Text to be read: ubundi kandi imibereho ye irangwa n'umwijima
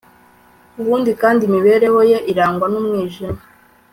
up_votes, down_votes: 3, 0